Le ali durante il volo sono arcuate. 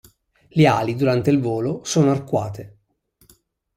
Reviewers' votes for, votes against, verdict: 2, 0, accepted